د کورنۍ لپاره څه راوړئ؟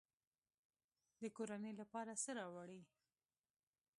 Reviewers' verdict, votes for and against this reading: accepted, 2, 0